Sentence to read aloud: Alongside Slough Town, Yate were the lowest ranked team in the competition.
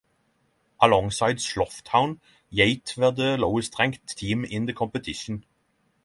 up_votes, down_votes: 6, 0